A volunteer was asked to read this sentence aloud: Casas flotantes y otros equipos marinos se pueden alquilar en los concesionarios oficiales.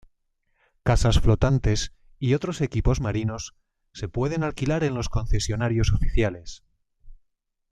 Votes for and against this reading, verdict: 2, 0, accepted